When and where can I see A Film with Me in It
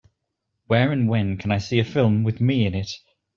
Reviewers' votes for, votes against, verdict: 0, 2, rejected